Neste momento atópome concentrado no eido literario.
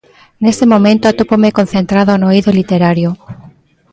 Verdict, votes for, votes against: accepted, 2, 0